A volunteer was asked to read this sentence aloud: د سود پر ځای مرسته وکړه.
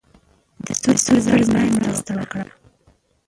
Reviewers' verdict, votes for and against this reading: rejected, 0, 3